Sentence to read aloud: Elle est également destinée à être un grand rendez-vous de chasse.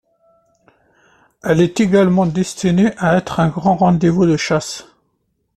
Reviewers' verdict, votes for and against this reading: accepted, 2, 0